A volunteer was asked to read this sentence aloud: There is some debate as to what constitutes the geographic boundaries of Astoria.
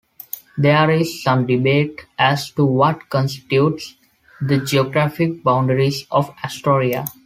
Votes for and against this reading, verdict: 2, 0, accepted